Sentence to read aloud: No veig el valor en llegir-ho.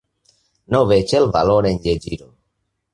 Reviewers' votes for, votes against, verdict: 1, 2, rejected